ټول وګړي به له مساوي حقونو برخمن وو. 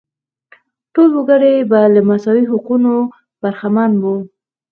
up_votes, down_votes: 4, 0